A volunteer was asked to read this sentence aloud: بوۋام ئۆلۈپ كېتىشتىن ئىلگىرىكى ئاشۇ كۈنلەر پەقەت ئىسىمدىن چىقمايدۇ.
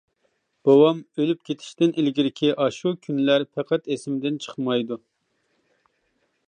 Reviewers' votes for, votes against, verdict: 2, 0, accepted